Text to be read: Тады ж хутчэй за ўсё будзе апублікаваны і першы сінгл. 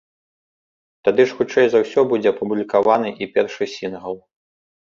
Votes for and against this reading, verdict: 2, 0, accepted